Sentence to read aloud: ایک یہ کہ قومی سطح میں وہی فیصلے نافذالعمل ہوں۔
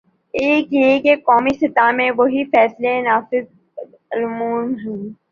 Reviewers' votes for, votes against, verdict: 1, 2, rejected